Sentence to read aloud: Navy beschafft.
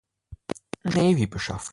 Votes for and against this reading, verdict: 1, 2, rejected